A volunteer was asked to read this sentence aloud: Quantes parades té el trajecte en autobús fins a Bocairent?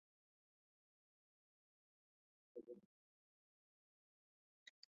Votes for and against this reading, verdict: 1, 2, rejected